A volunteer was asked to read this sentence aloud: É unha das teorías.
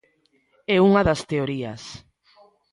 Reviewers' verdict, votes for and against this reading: rejected, 1, 2